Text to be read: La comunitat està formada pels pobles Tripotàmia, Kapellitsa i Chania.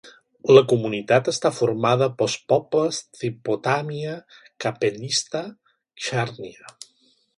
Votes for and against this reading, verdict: 1, 2, rejected